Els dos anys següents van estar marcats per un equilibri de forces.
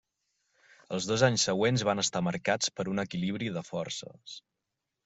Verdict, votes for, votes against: accepted, 3, 0